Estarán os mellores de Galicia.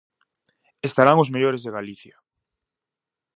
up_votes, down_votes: 4, 0